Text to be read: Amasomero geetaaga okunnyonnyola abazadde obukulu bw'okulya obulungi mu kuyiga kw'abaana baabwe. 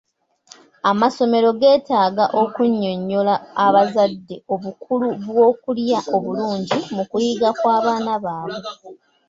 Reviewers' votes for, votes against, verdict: 2, 1, accepted